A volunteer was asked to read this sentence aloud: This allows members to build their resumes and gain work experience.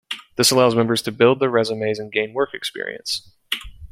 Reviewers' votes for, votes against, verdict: 2, 0, accepted